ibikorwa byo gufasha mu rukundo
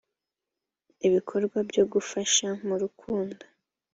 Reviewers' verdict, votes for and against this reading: accepted, 2, 0